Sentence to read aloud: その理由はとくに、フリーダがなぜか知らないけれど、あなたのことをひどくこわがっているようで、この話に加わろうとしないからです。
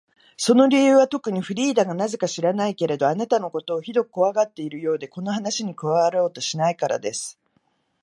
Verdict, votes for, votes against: accepted, 2, 0